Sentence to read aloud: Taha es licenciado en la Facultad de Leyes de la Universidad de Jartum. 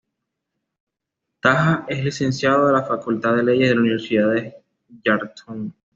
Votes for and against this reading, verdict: 2, 0, accepted